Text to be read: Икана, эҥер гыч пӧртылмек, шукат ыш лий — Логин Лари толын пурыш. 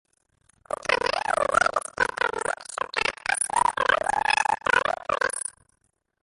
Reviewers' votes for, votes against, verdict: 0, 2, rejected